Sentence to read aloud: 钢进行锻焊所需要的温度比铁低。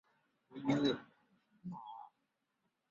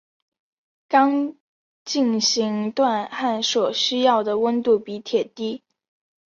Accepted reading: second